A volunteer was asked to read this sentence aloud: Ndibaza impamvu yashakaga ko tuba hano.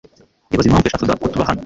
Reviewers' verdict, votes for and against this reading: rejected, 1, 2